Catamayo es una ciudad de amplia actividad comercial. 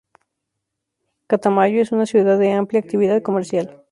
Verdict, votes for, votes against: accepted, 4, 0